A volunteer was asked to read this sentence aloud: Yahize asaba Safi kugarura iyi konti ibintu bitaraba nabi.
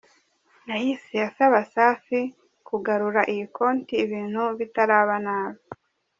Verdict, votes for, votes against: rejected, 0, 2